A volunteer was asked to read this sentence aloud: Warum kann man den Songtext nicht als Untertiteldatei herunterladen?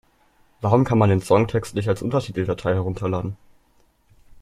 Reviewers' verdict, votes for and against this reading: accepted, 2, 0